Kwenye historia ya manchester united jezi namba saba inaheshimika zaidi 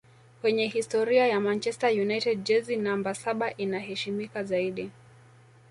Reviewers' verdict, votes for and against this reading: accepted, 2, 0